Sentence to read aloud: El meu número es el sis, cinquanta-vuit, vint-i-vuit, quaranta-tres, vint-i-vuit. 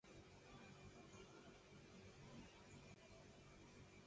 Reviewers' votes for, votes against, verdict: 1, 2, rejected